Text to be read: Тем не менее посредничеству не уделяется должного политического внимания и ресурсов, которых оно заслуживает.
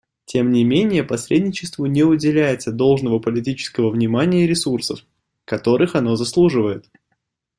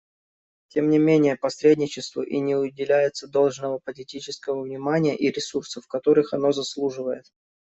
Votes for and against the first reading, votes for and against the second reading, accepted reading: 2, 0, 0, 2, first